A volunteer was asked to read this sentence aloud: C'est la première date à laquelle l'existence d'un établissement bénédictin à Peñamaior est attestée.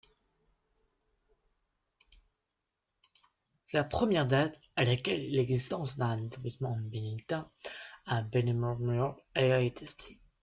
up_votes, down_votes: 0, 2